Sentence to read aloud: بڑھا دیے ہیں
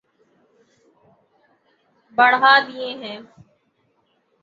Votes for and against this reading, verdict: 0, 3, rejected